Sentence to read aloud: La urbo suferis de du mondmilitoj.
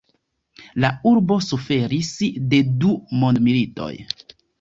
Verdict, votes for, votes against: accepted, 2, 0